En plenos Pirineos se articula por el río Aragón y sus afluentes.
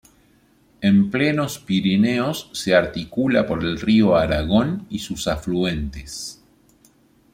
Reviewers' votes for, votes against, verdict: 2, 0, accepted